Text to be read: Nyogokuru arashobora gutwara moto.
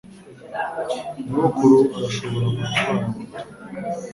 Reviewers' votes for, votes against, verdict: 2, 1, accepted